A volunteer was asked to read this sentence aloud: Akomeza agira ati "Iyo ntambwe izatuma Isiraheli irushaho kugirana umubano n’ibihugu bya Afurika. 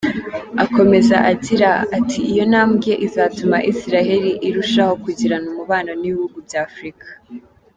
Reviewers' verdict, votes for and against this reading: rejected, 1, 2